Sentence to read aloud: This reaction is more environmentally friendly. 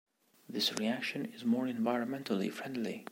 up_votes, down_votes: 2, 0